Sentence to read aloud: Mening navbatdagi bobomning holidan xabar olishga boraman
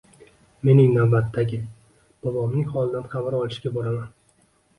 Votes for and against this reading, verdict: 1, 2, rejected